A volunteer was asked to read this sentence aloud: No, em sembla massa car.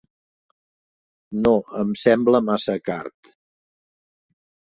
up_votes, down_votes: 2, 1